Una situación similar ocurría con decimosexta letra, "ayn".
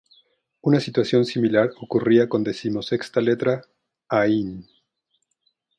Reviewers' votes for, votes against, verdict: 2, 2, rejected